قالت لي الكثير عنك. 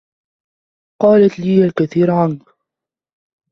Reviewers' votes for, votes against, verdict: 2, 0, accepted